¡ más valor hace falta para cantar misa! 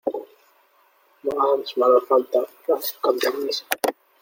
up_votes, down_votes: 0, 2